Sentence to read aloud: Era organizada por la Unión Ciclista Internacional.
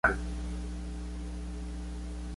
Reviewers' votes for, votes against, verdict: 0, 2, rejected